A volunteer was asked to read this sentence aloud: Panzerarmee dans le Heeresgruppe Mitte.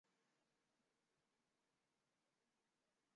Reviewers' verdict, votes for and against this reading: rejected, 0, 2